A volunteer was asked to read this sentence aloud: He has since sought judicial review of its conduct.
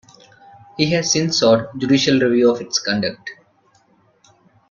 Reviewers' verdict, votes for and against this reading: accepted, 2, 0